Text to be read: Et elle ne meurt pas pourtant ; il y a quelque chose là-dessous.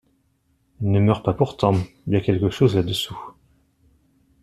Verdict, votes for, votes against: rejected, 1, 2